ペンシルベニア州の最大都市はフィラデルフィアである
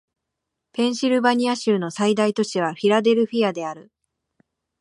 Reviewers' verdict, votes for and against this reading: rejected, 1, 2